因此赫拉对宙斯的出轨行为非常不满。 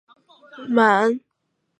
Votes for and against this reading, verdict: 0, 2, rejected